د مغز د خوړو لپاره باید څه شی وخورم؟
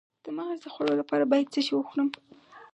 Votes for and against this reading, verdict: 4, 0, accepted